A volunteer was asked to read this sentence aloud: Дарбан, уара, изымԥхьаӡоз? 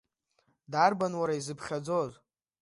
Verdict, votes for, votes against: rejected, 1, 2